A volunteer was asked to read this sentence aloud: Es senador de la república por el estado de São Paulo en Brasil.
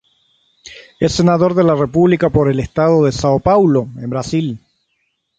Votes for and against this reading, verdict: 3, 3, rejected